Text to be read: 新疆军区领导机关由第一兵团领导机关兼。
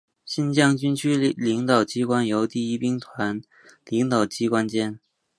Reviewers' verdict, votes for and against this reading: accepted, 2, 0